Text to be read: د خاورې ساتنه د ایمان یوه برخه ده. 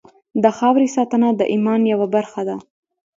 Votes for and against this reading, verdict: 2, 1, accepted